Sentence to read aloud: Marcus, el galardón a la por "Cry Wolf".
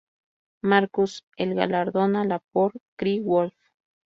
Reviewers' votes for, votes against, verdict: 0, 2, rejected